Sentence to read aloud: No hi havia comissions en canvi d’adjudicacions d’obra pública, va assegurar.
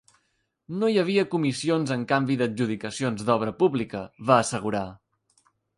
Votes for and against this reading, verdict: 2, 0, accepted